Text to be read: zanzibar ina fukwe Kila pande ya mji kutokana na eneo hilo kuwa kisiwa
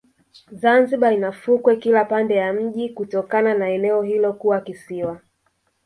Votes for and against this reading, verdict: 1, 2, rejected